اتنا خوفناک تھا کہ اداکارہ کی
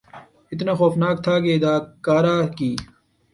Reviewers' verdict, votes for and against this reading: rejected, 1, 2